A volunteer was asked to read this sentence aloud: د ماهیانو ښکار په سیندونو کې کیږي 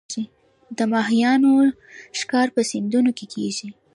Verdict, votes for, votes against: rejected, 0, 2